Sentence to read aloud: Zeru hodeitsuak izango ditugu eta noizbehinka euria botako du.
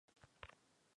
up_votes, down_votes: 0, 4